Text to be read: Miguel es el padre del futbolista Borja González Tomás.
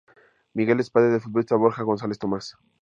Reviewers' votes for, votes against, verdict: 0, 2, rejected